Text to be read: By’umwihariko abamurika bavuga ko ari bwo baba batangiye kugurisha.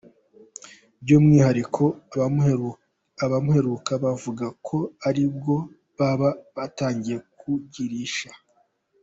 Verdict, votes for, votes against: rejected, 1, 2